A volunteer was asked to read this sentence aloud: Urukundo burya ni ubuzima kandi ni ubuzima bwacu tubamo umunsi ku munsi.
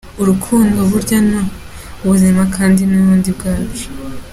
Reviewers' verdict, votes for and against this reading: rejected, 0, 2